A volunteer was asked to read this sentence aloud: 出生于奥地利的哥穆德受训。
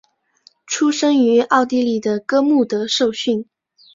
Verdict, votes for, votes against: accepted, 2, 0